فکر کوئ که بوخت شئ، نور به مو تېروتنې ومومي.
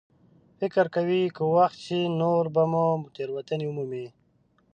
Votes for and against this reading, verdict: 0, 2, rejected